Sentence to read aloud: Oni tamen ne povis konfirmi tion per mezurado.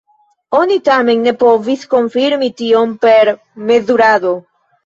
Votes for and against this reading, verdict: 1, 2, rejected